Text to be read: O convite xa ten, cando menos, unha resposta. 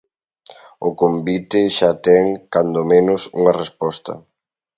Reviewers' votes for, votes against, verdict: 4, 0, accepted